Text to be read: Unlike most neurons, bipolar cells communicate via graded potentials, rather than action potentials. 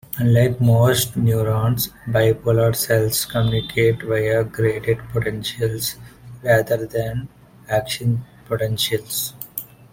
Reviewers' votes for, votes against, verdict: 2, 0, accepted